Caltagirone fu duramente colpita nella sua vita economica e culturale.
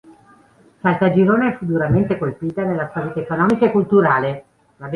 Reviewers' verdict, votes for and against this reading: accepted, 2, 0